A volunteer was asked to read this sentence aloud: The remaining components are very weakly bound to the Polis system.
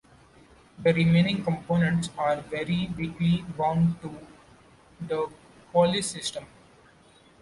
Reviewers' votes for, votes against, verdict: 2, 1, accepted